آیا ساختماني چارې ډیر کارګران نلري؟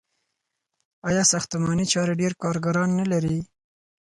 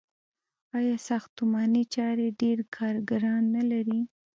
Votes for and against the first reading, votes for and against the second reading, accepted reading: 4, 0, 1, 2, first